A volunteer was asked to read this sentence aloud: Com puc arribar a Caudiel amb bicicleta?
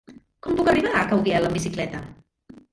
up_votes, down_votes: 1, 2